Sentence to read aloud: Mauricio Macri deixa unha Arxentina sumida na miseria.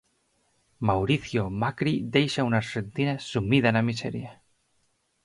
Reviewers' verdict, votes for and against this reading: rejected, 0, 4